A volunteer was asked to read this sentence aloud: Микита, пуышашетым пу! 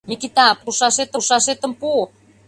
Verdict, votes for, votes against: rejected, 0, 2